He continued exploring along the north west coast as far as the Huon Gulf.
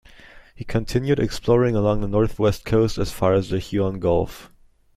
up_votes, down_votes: 2, 0